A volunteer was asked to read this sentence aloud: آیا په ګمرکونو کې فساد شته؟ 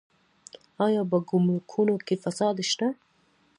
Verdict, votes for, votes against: accepted, 2, 0